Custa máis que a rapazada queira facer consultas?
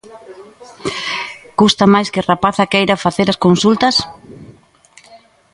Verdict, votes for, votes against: accepted, 2, 1